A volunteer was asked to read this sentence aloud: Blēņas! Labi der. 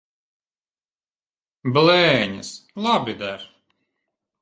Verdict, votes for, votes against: accepted, 2, 0